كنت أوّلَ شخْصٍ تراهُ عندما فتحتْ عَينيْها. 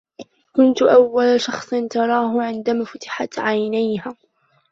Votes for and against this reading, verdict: 1, 2, rejected